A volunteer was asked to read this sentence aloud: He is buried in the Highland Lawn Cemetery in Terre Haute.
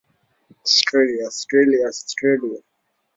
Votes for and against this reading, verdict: 0, 2, rejected